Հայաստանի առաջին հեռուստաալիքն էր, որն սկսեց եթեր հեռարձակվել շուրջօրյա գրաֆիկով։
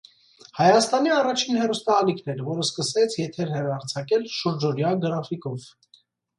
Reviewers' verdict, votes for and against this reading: rejected, 1, 2